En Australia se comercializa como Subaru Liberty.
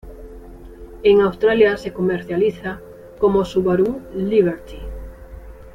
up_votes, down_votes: 1, 2